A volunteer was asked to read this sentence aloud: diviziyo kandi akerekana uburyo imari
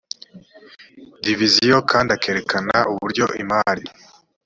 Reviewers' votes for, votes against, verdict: 2, 0, accepted